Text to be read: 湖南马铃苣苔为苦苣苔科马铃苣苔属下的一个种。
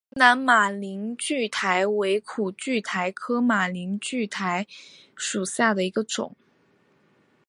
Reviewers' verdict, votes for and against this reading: accepted, 2, 0